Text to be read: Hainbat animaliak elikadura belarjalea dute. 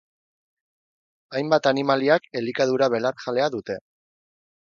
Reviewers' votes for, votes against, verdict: 4, 0, accepted